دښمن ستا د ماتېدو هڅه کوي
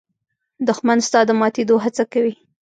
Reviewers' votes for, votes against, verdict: 1, 2, rejected